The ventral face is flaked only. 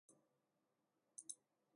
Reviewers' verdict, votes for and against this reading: rejected, 0, 2